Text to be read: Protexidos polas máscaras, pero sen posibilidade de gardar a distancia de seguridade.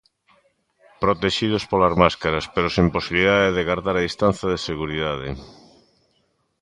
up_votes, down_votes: 1, 2